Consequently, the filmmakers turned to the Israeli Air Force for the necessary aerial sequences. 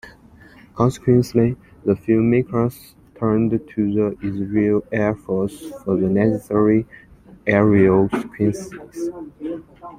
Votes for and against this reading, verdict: 0, 2, rejected